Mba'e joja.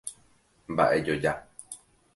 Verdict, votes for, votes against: accepted, 2, 0